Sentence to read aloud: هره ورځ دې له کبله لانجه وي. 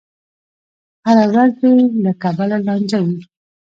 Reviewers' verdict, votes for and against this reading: rejected, 1, 2